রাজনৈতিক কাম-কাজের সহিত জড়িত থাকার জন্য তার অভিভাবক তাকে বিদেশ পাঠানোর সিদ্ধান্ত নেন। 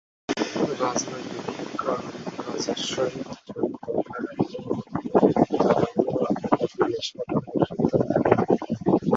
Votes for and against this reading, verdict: 0, 2, rejected